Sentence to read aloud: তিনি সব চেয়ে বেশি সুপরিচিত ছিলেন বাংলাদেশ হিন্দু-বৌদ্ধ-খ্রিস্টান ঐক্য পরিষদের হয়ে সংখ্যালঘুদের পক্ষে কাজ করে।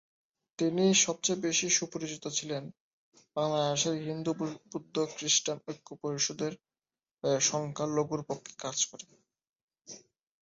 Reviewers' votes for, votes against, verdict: 0, 4, rejected